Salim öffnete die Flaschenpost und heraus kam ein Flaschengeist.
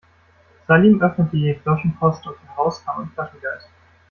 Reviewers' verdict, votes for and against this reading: rejected, 1, 2